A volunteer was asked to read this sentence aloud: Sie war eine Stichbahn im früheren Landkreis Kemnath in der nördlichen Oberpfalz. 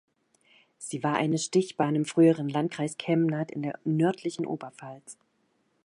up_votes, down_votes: 2, 0